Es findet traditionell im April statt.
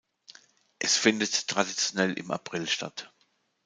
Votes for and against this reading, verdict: 2, 0, accepted